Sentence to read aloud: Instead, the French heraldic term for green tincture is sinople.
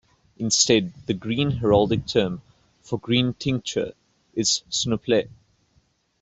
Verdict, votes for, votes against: rejected, 0, 2